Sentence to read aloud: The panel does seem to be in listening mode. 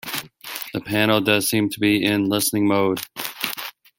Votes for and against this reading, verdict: 2, 0, accepted